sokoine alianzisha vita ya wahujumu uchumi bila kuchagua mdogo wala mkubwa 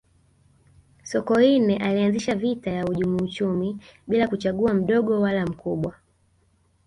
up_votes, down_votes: 3, 0